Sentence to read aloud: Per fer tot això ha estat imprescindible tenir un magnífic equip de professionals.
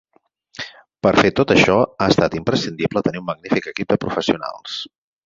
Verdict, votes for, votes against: accepted, 4, 0